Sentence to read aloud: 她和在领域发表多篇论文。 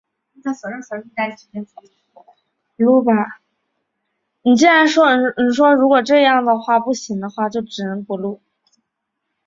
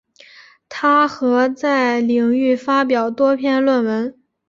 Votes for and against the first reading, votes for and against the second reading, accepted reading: 0, 5, 2, 0, second